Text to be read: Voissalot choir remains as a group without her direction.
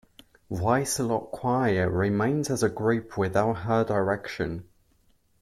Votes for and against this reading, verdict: 2, 1, accepted